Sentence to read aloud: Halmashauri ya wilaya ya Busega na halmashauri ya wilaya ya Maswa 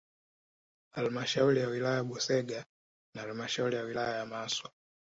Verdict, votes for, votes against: accepted, 5, 0